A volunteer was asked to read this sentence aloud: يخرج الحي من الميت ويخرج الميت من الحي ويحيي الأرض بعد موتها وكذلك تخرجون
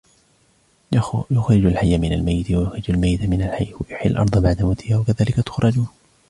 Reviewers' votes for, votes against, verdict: 2, 0, accepted